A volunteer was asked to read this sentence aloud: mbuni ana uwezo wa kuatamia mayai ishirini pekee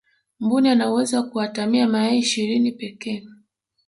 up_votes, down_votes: 1, 2